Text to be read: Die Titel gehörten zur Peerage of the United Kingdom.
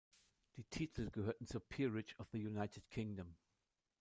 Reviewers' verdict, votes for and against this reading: rejected, 0, 2